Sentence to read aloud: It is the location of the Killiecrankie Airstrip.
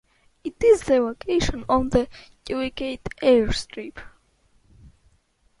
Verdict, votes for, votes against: rejected, 1, 2